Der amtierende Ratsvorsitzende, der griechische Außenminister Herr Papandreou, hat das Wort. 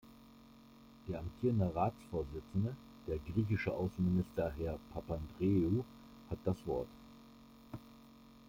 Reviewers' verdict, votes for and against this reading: accepted, 2, 1